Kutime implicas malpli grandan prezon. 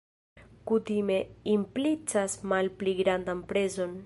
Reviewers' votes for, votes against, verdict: 2, 0, accepted